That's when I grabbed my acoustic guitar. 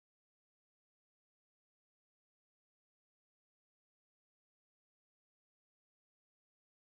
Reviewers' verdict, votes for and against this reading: rejected, 0, 2